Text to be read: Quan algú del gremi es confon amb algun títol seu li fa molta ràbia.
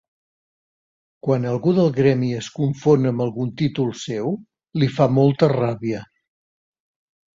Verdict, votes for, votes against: accepted, 3, 0